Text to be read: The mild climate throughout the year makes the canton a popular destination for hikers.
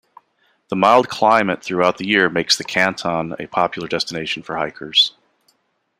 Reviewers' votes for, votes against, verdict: 1, 2, rejected